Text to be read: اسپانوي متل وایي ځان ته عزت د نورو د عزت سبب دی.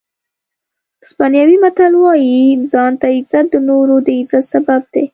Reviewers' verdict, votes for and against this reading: accepted, 2, 0